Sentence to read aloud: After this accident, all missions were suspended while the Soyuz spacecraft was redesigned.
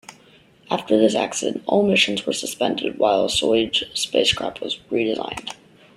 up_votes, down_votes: 1, 2